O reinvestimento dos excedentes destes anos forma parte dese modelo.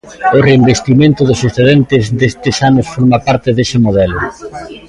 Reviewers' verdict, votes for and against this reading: rejected, 0, 2